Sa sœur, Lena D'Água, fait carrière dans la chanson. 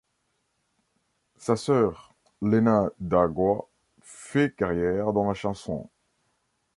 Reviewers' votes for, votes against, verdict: 2, 0, accepted